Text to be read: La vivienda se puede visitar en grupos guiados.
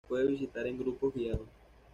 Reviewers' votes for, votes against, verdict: 1, 2, rejected